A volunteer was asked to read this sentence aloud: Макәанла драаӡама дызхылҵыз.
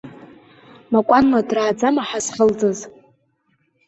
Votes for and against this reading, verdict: 0, 2, rejected